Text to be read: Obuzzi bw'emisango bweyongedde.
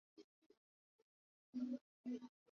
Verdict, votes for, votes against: rejected, 0, 2